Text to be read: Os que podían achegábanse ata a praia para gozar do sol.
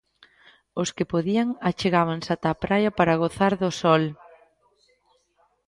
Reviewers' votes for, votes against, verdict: 1, 2, rejected